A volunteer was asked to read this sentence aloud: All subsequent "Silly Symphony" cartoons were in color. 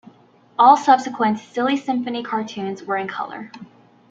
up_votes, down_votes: 1, 2